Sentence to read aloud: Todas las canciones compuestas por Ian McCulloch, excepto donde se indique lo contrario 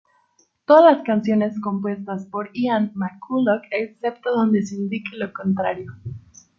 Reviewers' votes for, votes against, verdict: 0, 2, rejected